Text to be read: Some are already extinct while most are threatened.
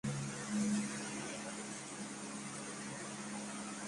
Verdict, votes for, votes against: rejected, 0, 2